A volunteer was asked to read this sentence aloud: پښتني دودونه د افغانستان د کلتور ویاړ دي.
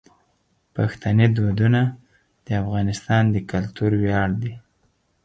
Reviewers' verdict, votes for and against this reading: accepted, 4, 0